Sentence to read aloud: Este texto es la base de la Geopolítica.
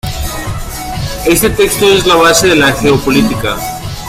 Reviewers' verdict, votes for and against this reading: accepted, 2, 0